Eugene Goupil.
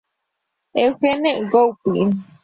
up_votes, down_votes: 0, 2